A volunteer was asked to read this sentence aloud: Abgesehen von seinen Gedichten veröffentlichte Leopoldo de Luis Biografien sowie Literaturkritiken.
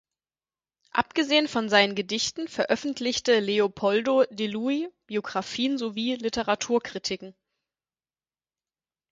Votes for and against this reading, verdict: 4, 0, accepted